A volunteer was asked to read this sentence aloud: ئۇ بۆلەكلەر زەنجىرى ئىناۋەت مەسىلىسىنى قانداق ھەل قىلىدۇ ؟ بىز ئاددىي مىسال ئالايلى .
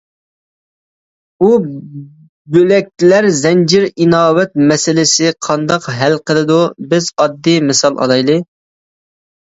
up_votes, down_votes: 0, 2